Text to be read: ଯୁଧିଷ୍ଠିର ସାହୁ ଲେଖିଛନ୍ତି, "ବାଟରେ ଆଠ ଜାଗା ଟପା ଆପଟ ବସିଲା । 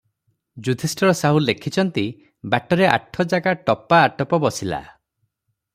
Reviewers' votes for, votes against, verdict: 0, 3, rejected